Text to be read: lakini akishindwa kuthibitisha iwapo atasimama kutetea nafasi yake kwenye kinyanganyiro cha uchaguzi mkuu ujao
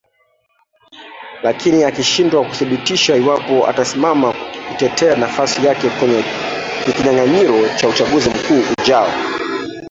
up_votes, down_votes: 0, 2